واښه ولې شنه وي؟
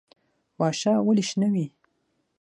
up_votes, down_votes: 3, 6